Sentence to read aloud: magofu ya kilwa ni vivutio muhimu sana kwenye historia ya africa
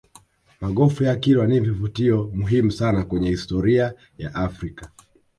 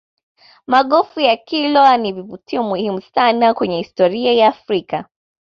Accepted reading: second